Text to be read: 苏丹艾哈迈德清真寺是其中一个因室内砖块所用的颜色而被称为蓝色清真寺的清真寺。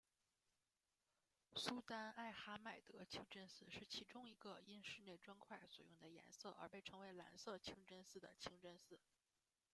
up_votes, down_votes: 0, 2